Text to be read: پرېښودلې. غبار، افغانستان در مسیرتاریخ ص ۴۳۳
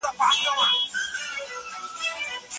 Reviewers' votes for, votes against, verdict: 0, 2, rejected